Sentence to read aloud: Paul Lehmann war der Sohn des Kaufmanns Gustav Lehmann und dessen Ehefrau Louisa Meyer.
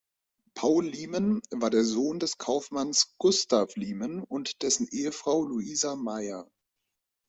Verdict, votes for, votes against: rejected, 0, 2